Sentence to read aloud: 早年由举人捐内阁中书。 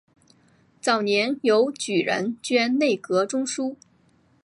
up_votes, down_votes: 2, 1